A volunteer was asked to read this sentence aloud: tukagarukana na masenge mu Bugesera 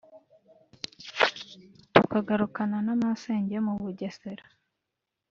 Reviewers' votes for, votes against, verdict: 1, 2, rejected